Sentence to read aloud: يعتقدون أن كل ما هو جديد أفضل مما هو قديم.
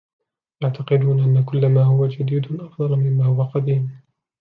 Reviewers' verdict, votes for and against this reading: rejected, 0, 2